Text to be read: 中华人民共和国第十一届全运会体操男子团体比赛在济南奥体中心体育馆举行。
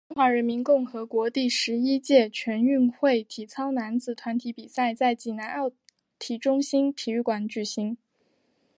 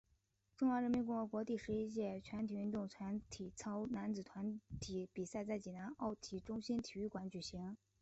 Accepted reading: first